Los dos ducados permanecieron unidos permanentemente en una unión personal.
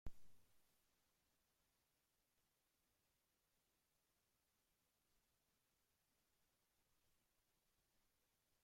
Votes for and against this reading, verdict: 0, 3, rejected